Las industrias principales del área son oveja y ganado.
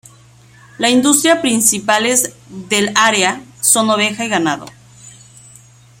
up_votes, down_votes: 1, 2